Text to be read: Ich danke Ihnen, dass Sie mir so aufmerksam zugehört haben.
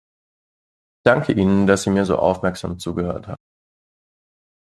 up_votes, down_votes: 1, 2